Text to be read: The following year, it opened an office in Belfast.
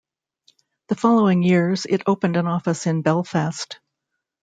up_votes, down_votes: 0, 2